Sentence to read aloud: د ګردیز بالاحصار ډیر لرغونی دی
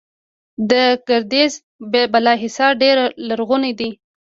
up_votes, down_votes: 0, 2